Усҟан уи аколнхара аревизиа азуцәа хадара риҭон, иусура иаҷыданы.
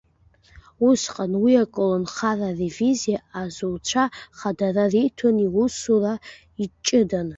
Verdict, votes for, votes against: rejected, 1, 2